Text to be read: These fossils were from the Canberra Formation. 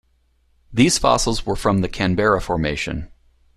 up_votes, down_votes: 2, 1